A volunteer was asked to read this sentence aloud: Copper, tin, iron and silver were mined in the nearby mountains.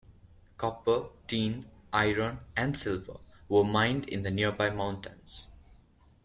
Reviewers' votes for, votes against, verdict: 2, 0, accepted